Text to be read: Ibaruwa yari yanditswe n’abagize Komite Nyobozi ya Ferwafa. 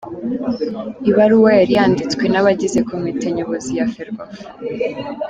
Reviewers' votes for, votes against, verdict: 2, 0, accepted